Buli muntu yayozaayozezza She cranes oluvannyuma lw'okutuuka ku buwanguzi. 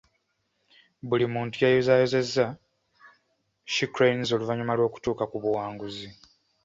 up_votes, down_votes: 2, 0